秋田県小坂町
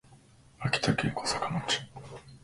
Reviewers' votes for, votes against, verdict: 1, 3, rejected